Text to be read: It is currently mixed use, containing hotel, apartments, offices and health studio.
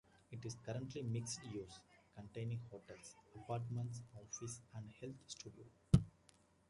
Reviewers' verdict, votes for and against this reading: rejected, 1, 2